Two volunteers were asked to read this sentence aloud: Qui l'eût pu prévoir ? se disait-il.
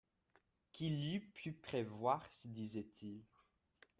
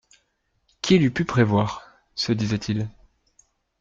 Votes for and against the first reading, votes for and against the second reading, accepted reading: 0, 2, 2, 0, second